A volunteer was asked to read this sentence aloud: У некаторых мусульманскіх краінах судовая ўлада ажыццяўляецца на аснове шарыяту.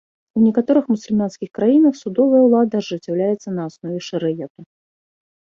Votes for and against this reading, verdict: 2, 0, accepted